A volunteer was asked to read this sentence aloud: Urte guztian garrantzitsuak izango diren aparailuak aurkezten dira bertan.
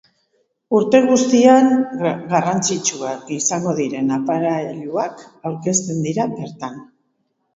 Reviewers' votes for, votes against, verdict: 2, 3, rejected